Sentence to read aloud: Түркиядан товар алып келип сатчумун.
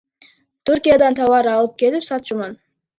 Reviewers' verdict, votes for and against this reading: rejected, 0, 2